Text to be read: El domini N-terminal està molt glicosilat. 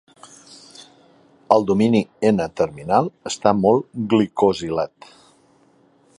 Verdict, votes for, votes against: accepted, 2, 0